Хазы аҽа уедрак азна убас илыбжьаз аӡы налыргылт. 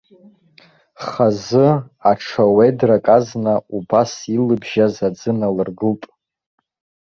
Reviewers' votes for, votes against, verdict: 2, 0, accepted